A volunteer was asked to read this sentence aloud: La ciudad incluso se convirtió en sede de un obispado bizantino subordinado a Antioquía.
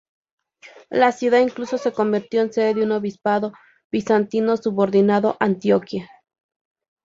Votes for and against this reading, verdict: 2, 0, accepted